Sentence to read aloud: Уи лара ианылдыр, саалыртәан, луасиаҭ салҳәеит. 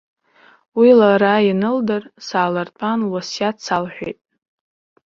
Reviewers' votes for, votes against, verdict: 2, 1, accepted